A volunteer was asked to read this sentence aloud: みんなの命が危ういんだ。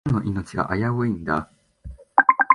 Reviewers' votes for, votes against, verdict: 2, 3, rejected